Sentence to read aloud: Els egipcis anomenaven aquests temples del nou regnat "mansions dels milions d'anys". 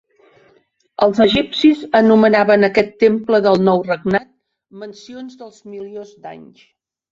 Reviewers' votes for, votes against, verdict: 0, 3, rejected